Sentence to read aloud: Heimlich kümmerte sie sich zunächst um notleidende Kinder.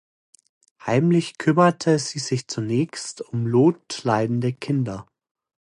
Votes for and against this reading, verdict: 2, 0, accepted